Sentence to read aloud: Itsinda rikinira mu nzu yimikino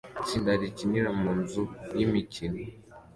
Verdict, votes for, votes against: accepted, 2, 0